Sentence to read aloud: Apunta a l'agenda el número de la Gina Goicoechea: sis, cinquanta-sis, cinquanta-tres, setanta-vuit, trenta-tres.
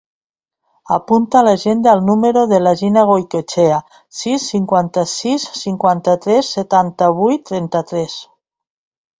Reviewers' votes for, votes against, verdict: 3, 0, accepted